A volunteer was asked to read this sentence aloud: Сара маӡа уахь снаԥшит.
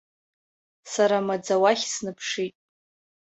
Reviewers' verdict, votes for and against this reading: accepted, 2, 0